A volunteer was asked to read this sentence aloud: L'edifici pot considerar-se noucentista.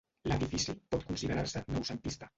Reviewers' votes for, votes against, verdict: 1, 2, rejected